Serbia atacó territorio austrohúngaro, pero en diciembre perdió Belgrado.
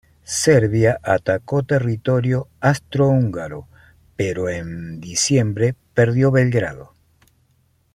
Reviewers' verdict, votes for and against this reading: accepted, 2, 0